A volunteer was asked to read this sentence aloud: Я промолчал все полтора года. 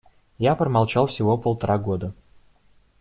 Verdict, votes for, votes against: rejected, 0, 2